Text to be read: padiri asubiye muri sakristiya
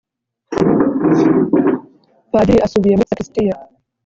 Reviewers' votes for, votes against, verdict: 0, 2, rejected